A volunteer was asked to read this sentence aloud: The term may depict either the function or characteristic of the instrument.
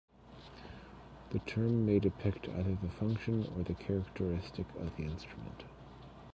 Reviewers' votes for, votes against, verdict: 1, 2, rejected